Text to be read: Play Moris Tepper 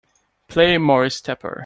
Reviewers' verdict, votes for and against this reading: accepted, 2, 0